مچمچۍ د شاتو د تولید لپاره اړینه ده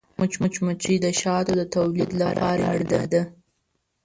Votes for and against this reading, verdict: 0, 2, rejected